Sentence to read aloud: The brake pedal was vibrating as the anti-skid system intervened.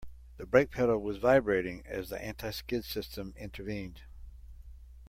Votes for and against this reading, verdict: 2, 0, accepted